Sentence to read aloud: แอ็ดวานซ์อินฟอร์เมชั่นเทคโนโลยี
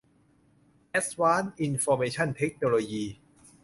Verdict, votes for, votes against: rejected, 0, 2